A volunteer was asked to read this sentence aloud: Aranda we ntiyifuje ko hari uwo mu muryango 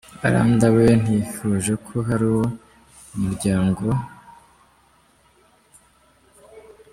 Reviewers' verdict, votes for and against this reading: rejected, 1, 2